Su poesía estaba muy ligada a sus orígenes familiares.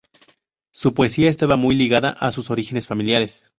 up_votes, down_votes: 2, 0